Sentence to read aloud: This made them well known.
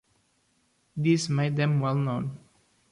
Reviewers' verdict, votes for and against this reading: accepted, 2, 0